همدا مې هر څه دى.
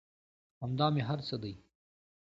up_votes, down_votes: 2, 0